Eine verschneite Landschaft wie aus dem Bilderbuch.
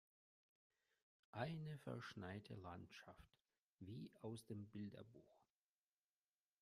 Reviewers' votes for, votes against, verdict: 1, 2, rejected